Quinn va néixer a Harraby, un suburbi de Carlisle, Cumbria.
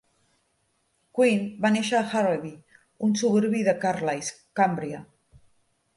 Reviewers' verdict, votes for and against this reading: accepted, 2, 0